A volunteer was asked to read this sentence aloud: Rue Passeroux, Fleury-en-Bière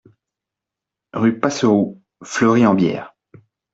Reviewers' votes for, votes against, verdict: 2, 0, accepted